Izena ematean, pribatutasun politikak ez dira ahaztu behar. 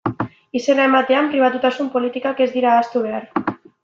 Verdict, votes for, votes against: accepted, 2, 0